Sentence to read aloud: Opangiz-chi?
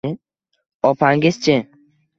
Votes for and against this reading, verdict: 2, 0, accepted